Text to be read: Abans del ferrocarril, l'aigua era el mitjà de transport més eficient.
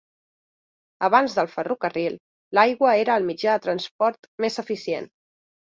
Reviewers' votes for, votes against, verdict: 4, 0, accepted